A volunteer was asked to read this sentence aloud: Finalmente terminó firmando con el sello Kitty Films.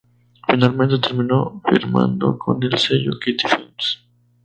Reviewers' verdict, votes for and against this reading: rejected, 0, 2